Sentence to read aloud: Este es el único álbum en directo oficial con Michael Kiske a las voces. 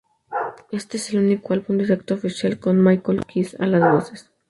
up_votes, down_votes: 4, 2